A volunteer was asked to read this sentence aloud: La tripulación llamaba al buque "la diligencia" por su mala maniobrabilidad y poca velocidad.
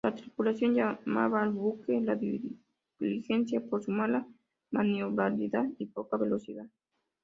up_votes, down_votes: 2, 0